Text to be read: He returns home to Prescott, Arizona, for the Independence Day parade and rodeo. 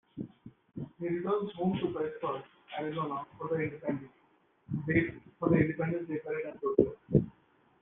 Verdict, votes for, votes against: rejected, 0, 2